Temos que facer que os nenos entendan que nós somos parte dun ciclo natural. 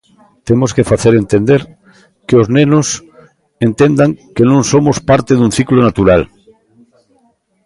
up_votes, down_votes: 0, 2